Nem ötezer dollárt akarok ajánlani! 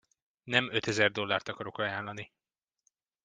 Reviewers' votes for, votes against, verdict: 2, 0, accepted